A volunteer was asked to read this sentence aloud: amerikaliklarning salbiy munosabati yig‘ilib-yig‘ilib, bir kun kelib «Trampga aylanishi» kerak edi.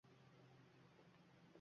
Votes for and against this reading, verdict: 1, 2, rejected